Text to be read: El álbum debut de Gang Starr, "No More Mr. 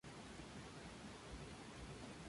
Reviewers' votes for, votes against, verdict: 0, 2, rejected